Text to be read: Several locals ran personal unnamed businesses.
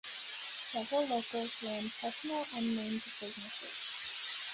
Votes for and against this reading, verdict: 2, 1, accepted